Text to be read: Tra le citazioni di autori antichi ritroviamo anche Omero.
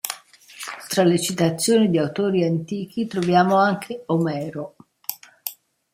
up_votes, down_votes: 1, 2